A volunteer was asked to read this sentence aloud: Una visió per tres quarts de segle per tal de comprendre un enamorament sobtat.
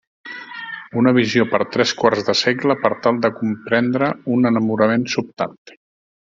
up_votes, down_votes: 2, 0